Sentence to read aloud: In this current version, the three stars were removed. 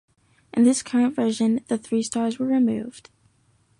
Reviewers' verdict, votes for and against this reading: accepted, 2, 0